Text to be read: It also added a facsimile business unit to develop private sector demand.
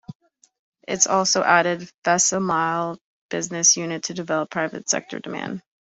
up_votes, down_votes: 1, 2